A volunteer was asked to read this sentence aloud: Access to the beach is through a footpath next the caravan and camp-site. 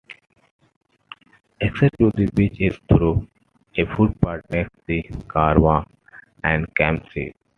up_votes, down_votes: 2, 1